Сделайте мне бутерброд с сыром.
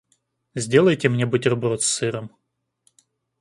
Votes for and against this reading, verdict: 2, 0, accepted